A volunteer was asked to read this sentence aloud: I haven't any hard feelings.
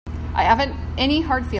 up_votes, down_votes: 0, 2